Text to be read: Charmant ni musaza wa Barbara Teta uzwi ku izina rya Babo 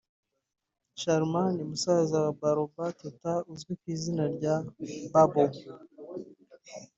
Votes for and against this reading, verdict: 2, 0, accepted